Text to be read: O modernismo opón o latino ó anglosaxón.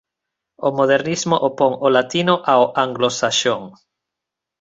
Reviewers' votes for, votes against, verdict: 3, 2, accepted